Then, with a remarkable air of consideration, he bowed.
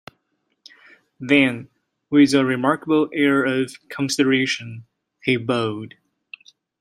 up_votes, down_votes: 1, 2